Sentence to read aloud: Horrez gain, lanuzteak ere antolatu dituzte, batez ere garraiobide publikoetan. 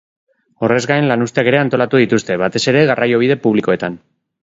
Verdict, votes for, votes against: rejected, 1, 2